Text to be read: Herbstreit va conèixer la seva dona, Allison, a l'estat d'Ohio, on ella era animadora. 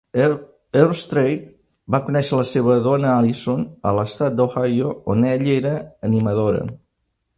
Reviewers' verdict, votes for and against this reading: rejected, 0, 2